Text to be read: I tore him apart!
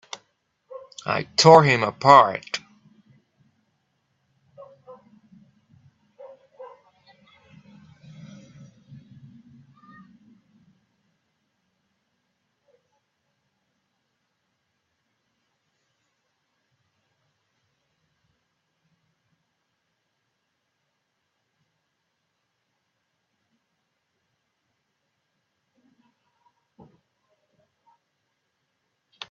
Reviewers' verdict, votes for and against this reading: rejected, 0, 2